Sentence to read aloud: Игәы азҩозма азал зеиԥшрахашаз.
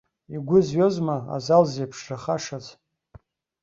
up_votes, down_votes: 0, 2